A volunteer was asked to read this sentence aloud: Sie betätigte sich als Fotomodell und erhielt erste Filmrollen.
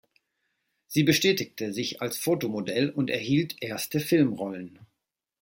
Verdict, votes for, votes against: rejected, 0, 2